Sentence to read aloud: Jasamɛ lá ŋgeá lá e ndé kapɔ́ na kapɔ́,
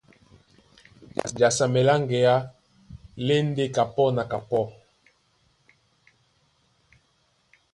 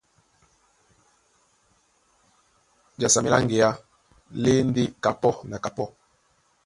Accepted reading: first